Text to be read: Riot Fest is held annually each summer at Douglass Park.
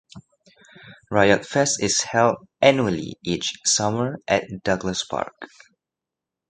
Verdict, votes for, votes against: accepted, 2, 0